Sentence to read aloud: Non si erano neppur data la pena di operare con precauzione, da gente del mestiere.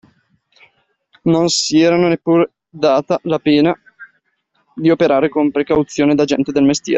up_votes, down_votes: 0, 2